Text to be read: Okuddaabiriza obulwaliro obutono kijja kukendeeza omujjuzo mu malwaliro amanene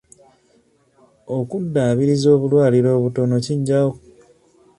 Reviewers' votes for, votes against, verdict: 0, 2, rejected